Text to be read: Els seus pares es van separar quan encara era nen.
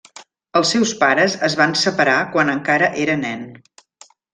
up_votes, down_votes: 3, 0